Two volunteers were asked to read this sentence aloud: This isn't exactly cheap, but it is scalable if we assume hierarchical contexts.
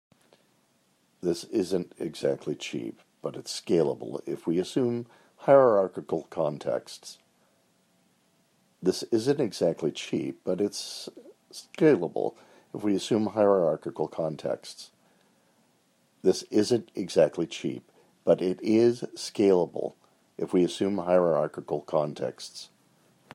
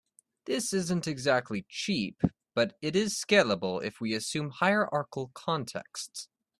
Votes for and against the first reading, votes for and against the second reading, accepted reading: 2, 3, 2, 0, second